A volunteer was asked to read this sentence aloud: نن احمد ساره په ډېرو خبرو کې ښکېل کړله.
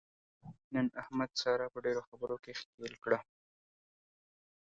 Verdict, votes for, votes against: rejected, 1, 2